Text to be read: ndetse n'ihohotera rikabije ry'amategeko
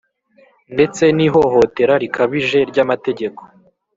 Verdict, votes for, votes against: accepted, 2, 0